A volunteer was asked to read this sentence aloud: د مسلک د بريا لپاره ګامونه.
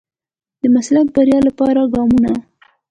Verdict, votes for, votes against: accepted, 2, 1